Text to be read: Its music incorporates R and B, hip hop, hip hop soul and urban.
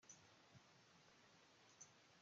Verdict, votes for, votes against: rejected, 0, 2